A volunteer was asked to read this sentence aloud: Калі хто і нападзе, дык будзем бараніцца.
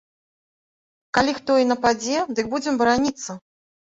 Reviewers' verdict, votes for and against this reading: accepted, 2, 0